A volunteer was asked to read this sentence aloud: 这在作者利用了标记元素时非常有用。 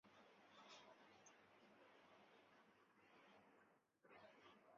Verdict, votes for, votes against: rejected, 0, 4